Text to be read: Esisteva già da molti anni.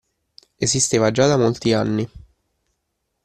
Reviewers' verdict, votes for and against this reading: accepted, 2, 0